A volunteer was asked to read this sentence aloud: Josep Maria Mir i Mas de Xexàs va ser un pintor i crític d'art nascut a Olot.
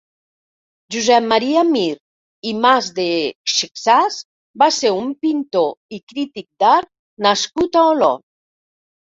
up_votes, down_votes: 1, 2